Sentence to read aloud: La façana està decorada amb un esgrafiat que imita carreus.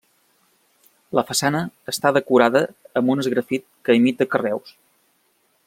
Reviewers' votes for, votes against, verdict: 0, 2, rejected